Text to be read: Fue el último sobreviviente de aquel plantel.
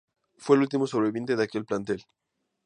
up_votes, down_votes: 4, 0